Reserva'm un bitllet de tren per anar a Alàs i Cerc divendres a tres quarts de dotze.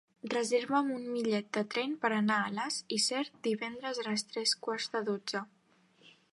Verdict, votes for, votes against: rejected, 0, 2